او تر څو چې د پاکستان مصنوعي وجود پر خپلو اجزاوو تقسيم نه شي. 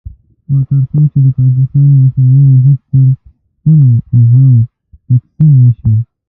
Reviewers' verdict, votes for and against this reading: rejected, 0, 2